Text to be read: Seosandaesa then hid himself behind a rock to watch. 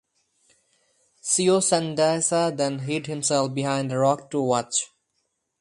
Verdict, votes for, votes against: accepted, 2, 0